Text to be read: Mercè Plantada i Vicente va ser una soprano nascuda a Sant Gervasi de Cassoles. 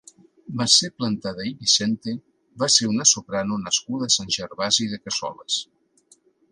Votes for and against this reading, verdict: 2, 0, accepted